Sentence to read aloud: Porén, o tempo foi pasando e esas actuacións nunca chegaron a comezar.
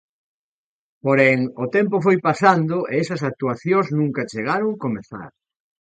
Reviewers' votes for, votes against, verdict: 0, 2, rejected